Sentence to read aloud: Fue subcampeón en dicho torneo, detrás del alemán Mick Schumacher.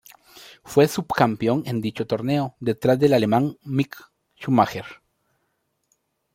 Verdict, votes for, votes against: accepted, 2, 0